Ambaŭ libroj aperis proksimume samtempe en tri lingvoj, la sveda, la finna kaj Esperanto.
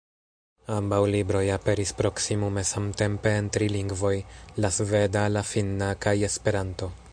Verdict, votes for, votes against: rejected, 1, 2